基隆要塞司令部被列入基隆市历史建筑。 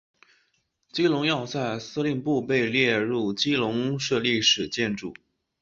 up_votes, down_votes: 7, 0